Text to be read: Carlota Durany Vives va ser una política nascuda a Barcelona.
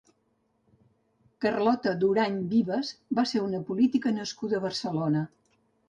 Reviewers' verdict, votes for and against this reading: accepted, 4, 0